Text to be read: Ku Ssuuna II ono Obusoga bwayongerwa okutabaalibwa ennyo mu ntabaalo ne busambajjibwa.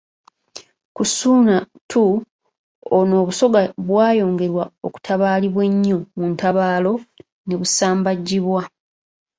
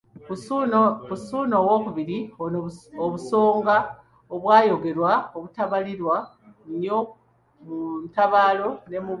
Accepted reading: first